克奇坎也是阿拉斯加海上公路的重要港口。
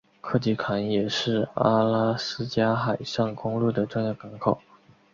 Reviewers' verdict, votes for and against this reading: accepted, 6, 0